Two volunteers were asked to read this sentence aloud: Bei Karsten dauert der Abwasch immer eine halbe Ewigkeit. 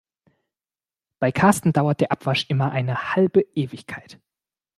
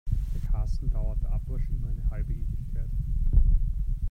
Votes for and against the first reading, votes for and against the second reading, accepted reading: 2, 0, 1, 2, first